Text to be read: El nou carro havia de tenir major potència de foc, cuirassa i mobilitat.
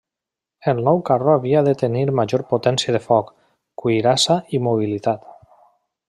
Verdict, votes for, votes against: accepted, 3, 1